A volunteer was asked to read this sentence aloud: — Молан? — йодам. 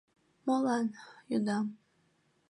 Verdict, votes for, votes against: accepted, 2, 0